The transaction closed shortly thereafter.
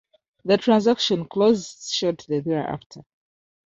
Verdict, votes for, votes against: rejected, 1, 2